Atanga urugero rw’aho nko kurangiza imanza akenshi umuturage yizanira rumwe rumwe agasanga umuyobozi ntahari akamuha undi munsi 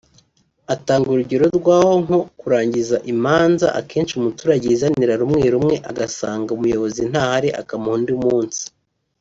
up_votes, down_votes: 4, 0